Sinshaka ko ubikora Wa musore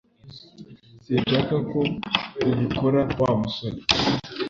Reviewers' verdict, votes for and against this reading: accepted, 2, 0